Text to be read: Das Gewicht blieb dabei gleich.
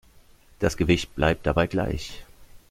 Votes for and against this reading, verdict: 0, 2, rejected